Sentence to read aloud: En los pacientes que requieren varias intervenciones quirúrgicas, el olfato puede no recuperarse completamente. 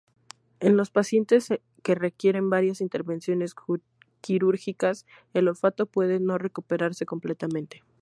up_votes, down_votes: 0, 4